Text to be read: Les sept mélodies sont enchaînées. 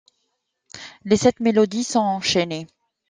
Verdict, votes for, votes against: accepted, 2, 0